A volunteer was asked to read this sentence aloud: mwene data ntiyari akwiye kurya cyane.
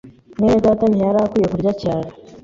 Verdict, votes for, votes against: accepted, 2, 0